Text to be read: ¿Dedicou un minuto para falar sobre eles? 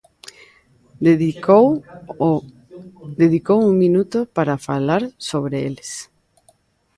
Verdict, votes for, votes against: rejected, 1, 2